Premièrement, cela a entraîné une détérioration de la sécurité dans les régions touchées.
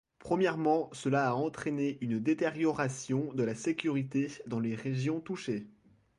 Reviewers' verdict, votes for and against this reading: accepted, 2, 0